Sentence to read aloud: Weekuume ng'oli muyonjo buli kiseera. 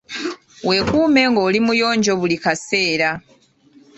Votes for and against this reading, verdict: 1, 2, rejected